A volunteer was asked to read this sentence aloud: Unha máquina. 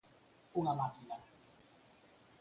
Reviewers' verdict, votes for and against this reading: rejected, 2, 4